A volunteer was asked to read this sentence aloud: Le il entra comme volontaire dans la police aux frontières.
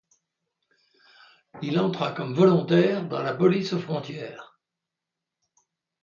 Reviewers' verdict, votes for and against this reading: rejected, 1, 2